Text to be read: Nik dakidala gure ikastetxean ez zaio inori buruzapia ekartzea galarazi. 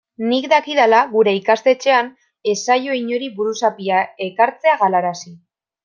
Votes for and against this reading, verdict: 2, 0, accepted